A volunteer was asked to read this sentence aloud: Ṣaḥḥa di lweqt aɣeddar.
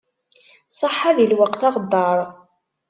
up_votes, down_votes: 2, 0